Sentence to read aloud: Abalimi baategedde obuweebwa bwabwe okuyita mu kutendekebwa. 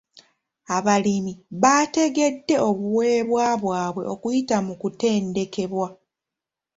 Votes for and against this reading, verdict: 2, 0, accepted